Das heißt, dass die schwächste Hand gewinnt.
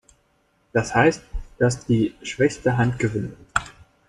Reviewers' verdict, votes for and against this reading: rejected, 0, 2